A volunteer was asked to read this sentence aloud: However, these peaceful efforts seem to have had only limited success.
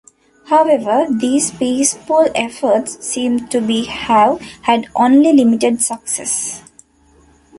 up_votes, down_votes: 1, 2